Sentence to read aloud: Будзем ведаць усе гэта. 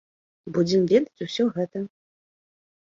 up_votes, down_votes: 0, 2